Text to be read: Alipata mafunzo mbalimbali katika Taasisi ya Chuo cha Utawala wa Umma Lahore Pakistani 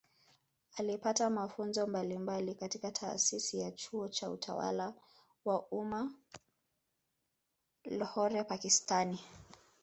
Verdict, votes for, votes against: accepted, 2, 0